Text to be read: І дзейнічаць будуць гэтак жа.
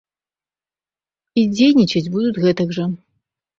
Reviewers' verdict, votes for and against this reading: rejected, 0, 2